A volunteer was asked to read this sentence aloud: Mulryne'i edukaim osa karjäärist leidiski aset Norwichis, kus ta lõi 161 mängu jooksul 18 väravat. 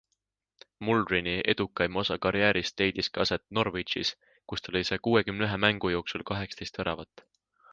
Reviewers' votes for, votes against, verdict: 0, 2, rejected